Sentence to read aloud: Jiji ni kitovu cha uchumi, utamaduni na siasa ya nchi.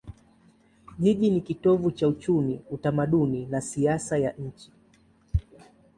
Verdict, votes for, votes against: accepted, 2, 0